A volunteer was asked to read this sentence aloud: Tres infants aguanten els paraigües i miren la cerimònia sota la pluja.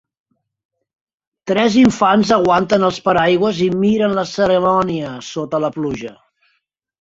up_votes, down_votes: 0, 2